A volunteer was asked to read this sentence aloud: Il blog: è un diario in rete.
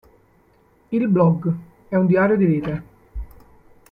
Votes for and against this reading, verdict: 1, 2, rejected